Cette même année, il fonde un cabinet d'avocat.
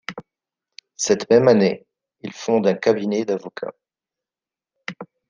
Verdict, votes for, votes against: accepted, 2, 0